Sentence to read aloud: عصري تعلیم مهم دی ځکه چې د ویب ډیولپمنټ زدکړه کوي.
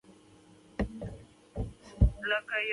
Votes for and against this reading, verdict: 1, 2, rejected